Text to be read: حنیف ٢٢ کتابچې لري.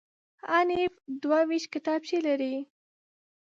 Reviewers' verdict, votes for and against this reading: rejected, 0, 2